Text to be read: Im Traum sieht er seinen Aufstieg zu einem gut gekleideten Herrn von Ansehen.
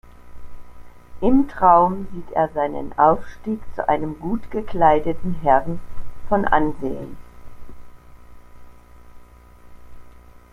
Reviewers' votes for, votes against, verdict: 2, 0, accepted